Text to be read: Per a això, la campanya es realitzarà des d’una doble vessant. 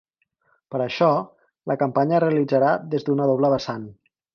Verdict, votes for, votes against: rejected, 0, 4